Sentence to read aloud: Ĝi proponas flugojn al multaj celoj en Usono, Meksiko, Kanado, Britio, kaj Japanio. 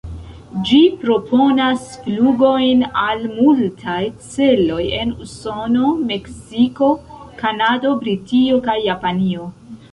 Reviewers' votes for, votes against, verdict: 0, 2, rejected